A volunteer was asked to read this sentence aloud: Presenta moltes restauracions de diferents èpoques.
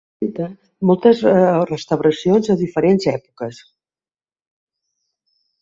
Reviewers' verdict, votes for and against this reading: rejected, 0, 2